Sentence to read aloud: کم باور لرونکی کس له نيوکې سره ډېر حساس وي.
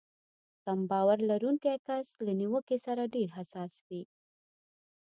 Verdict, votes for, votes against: accepted, 2, 0